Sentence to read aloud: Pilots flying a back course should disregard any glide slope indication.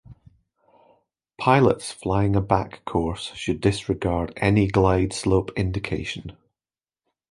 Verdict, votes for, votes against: accepted, 2, 0